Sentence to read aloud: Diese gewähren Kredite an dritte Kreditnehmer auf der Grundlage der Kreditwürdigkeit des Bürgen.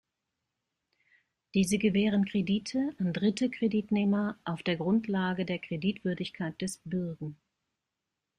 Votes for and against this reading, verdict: 2, 1, accepted